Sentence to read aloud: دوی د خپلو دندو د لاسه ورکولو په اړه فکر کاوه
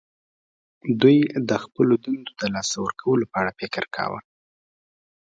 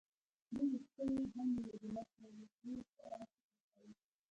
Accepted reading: first